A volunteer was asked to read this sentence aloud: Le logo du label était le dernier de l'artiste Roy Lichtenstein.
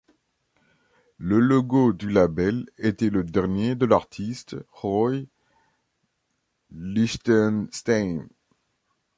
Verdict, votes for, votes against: rejected, 1, 3